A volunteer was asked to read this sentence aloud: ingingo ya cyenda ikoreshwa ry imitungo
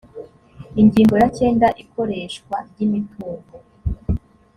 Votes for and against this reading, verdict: 3, 0, accepted